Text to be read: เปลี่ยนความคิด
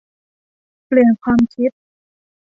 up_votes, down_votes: 1, 2